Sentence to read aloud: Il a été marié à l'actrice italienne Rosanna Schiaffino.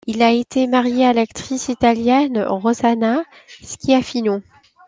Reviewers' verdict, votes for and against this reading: accepted, 2, 0